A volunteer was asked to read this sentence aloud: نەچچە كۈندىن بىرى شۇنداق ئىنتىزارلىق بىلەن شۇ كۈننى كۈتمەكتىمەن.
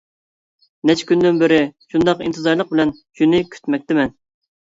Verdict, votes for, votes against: rejected, 1, 2